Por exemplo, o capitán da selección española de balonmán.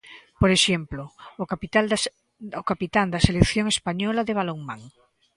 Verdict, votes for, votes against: rejected, 0, 2